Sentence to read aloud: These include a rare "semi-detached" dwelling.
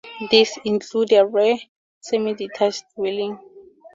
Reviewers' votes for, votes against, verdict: 2, 0, accepted